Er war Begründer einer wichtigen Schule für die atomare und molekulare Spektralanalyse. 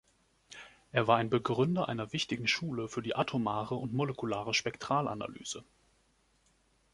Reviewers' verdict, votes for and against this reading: accepted, 2, 1